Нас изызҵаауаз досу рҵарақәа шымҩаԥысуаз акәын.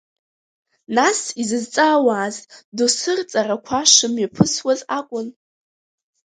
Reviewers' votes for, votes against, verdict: 1, 2, rejected